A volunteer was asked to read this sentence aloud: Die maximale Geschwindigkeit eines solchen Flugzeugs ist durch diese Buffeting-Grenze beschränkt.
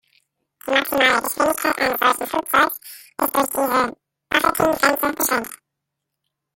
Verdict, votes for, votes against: rejected, 0, 2